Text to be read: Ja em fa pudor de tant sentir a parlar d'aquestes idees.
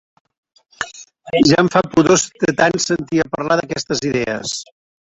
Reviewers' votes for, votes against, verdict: 0, 2, rejected